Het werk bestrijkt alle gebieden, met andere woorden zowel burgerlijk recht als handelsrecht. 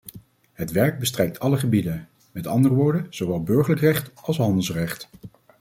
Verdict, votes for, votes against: accepted, 2, 0